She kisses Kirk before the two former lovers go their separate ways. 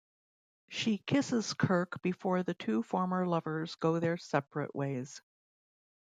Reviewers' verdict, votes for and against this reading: accepted, 2, 0